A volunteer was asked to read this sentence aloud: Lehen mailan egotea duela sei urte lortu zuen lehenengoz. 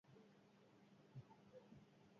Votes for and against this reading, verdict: 0, 6, rejected